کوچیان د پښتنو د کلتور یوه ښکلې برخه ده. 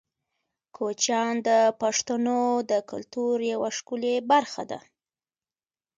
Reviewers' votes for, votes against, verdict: 2, 1, accepted